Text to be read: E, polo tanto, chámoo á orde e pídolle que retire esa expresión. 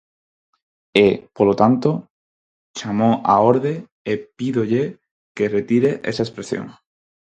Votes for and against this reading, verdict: 4, 0, accepted